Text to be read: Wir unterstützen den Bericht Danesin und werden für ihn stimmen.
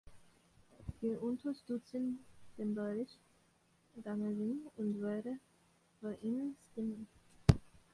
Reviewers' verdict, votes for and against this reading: rejected, 0, 2